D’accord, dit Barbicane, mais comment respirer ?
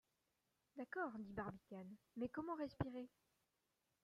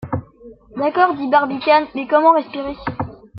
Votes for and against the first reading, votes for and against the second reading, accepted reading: 0, 2, 2, 1, second